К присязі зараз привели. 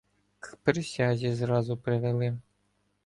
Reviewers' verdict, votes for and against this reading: rejected, 0, 2